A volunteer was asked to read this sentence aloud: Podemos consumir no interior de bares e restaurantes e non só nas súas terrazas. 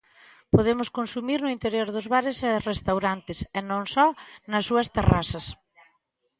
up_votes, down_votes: 0, 2